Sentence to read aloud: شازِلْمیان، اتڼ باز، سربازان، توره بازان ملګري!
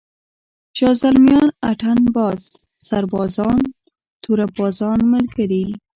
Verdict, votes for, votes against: rejected, 0, 2